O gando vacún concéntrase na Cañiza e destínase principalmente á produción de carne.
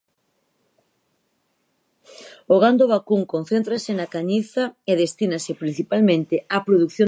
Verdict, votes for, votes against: rejected, 0, 4